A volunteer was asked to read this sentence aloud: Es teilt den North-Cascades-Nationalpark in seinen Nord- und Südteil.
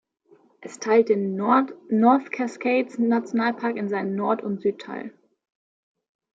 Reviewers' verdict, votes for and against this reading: rejected, 1, 2